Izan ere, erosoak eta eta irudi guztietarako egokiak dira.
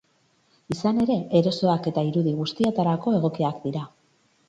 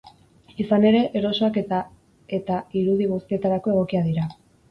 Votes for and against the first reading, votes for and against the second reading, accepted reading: 6, 0, 0, 4, first